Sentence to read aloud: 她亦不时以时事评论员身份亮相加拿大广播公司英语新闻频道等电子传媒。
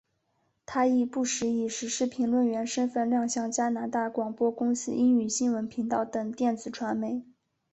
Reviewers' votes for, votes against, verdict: 3, 0, accepted